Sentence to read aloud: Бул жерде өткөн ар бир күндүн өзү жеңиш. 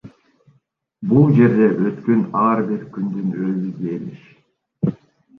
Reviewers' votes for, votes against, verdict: 0, 2, rejected